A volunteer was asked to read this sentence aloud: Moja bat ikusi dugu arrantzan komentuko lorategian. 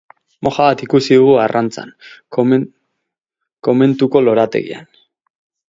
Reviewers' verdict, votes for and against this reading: rejected, 0, 6